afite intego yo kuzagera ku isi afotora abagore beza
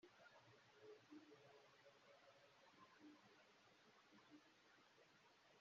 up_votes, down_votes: 0, 2